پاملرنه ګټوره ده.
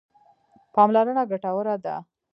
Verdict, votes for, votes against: rejected, 1, 2